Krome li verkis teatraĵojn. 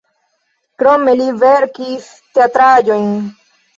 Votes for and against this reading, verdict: 2, 1, accepted